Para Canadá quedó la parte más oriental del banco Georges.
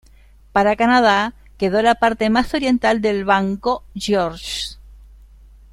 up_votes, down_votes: 0, 2